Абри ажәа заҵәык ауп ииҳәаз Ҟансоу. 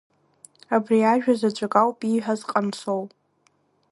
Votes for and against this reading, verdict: 2, 1, accepted